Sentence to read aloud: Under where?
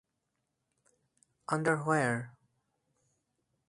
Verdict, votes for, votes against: accepted, 4, 0